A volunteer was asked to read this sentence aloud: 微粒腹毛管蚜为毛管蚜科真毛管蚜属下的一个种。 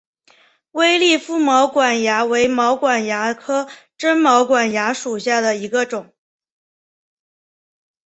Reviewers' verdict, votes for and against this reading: accepted, 2, 0